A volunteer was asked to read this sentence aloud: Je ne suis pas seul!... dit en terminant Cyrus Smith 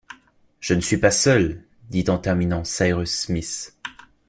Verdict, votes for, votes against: accepted, 2, 0